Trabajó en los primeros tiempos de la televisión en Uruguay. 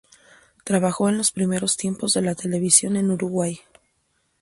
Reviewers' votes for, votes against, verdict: 2, 0, accepted